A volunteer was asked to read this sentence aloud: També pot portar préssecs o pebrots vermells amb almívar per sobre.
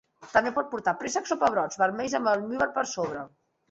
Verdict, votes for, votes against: accepted, 2, 1